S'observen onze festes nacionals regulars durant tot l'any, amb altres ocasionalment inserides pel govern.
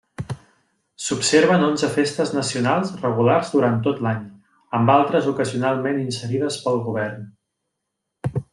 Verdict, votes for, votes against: accepted, 3, 0